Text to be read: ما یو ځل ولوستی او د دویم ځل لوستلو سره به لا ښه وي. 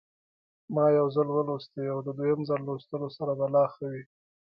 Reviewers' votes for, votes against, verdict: 1, 2, rejected